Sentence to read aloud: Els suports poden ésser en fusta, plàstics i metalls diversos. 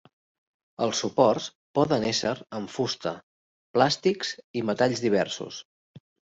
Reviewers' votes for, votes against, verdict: 2, 0, accepted